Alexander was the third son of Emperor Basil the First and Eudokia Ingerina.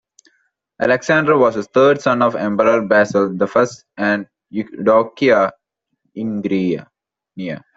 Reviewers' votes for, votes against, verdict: 0, 2, rejected